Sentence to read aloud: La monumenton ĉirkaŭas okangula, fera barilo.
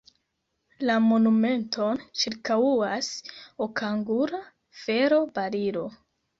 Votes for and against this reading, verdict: 0, 2, rejected